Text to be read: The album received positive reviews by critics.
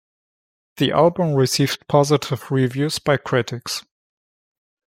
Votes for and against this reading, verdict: 2, 0, accepted